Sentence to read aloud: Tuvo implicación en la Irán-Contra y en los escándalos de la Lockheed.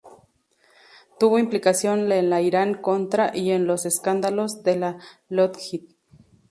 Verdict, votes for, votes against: rejected, 0, 2